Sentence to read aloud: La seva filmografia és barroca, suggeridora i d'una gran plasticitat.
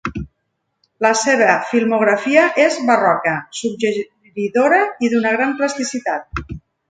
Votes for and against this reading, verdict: 2, 1, accepted